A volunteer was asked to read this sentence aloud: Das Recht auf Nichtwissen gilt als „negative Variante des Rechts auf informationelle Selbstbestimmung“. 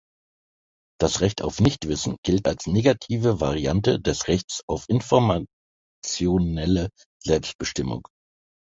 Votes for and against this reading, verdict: 1, 2, rejected